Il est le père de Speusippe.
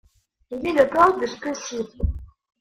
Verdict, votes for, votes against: rejected, 0, 2